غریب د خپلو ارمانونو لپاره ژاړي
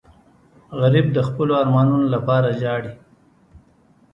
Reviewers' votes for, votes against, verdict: 2, 0, accepted